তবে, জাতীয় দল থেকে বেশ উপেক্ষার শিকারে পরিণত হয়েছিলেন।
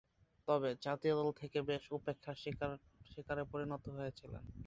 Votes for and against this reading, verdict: 0, 2, rejected